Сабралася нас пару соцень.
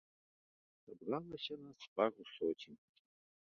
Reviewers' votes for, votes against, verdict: 0, 2, rejected